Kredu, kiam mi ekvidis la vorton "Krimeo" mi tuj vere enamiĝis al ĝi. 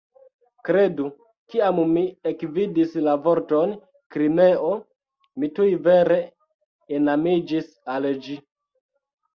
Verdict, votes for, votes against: accepted, 3, 0